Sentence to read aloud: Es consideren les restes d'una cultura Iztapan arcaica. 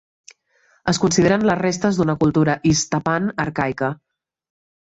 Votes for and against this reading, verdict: 2, 0, accepted